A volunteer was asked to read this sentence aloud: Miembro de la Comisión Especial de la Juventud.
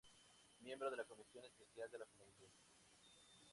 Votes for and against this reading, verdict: 2, 0, accepted